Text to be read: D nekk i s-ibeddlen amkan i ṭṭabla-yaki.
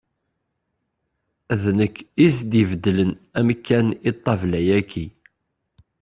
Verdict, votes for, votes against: rejected, 1, 2